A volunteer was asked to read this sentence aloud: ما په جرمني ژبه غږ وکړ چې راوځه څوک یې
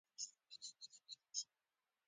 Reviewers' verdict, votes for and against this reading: accepted, 2, 1